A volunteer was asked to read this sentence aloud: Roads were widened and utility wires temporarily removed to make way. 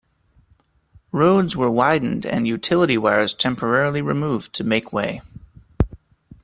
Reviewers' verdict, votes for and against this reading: accepted, 2, 0